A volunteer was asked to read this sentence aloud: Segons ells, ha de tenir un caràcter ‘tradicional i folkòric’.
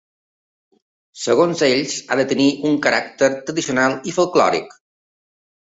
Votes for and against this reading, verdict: 2, 0, accepted